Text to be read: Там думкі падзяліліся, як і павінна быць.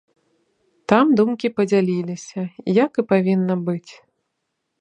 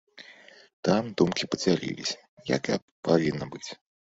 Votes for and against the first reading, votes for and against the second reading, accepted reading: 3, 0, 1, 2, first